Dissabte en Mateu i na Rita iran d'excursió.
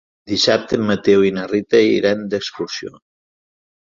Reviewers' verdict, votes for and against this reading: accepted, 3, 0